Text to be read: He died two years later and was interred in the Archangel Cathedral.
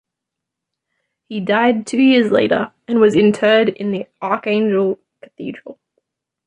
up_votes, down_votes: 0, 2